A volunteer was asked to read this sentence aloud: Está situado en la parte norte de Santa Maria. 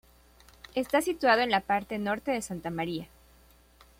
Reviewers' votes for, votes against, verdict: 2, 0, accepted